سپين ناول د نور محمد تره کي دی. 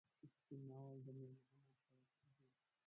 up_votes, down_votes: 0, 2